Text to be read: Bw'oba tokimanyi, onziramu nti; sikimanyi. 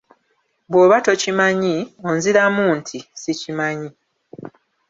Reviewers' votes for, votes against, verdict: 0, 2, rejected